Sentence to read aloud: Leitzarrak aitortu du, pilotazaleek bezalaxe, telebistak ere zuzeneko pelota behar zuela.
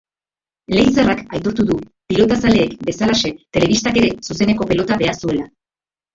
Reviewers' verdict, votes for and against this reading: accepted, 2, 0